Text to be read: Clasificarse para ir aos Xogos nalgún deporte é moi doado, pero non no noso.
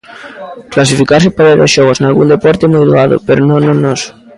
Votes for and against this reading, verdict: 1, 2, rejected